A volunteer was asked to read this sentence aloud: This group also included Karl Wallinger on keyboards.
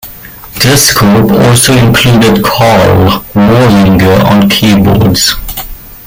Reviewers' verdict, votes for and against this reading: accepted, 2, 1